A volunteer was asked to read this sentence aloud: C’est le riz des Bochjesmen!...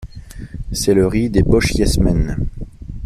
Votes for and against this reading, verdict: 2, 0, accepted